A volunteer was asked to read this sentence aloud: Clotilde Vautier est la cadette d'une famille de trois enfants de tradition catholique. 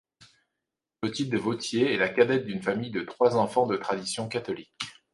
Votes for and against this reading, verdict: 2, 0, accepted